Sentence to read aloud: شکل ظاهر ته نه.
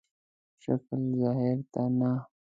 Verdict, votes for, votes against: rejected, 0, 2